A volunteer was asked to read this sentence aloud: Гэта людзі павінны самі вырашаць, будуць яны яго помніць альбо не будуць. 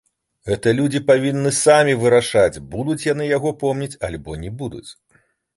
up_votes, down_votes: 0, 2